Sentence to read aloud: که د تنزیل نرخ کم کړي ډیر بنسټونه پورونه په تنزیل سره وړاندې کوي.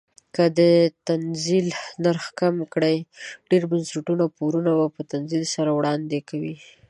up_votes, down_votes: 2, 0